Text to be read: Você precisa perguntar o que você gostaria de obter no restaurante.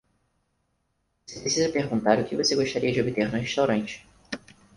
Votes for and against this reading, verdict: 0, 4, rejected